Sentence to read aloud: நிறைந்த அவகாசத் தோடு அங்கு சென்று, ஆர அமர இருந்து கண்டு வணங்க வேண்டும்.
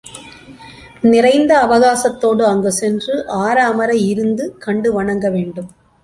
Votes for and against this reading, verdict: 3, 0, accepted